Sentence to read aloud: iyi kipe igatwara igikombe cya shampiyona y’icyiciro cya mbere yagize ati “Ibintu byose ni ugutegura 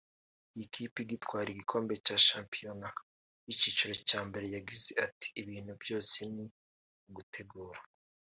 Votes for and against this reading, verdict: 0, 2, rejected